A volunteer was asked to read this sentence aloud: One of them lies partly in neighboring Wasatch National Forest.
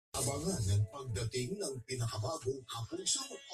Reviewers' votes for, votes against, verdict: 0, 3, rejected